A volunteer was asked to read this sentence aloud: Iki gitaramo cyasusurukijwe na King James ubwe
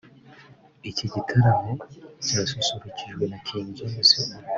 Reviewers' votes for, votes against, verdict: 3, 1, accepted